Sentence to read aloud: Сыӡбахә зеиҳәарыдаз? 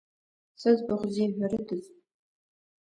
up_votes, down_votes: 1, 2